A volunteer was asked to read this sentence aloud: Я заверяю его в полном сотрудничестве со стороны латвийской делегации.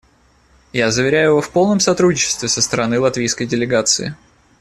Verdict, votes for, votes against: accepted, 2, 0